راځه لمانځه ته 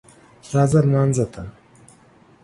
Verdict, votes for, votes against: accepted, 2, 0